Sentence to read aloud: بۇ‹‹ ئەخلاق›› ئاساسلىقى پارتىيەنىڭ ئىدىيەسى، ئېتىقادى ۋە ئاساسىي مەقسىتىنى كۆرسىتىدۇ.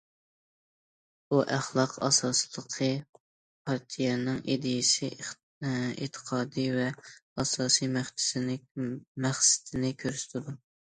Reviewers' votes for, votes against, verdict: 0, 2, rejected